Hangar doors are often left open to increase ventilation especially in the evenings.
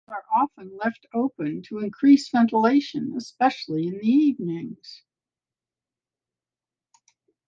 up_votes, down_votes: 0, 2